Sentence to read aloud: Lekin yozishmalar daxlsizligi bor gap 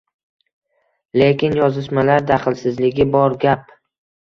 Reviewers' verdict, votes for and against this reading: accepted, 2, 1